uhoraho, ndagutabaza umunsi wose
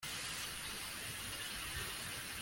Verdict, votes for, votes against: rejected, 0, 2